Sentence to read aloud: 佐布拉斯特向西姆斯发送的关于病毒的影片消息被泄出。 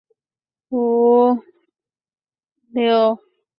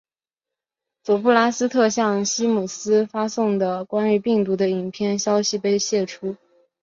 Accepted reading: second